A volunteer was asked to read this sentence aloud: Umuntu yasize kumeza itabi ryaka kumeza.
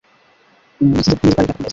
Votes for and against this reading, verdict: 0, 2, rejected